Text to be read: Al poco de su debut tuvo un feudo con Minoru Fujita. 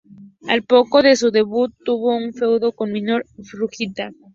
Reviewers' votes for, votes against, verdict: 0, 2, rejected